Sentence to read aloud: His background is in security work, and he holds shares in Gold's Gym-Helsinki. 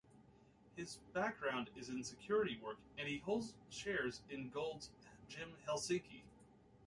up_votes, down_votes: 2, 0